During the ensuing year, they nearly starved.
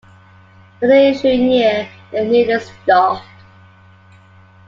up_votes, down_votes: 0, 2